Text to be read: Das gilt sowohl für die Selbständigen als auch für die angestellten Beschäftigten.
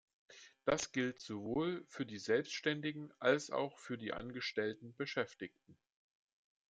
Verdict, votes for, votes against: accepted, 2, 0